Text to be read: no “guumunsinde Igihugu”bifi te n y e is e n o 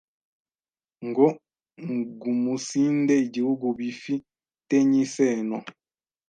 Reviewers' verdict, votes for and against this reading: rejected, 1, 2